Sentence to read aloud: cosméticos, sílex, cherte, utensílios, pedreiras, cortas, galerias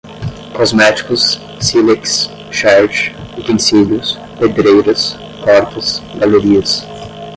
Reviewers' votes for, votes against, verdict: 5, 0, accepted